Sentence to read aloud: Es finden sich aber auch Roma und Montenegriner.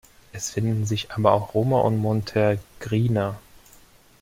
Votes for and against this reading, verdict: 0, 2, rejected